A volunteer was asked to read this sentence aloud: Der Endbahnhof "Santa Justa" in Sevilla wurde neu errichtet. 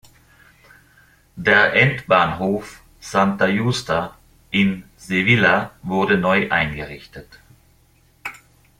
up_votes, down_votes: 0, 2